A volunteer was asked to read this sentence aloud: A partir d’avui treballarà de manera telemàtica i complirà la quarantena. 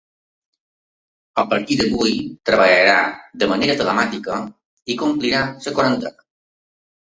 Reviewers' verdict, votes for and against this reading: rejected, 1, 2